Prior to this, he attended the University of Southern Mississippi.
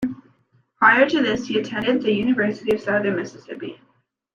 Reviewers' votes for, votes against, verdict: 1, 2, rejected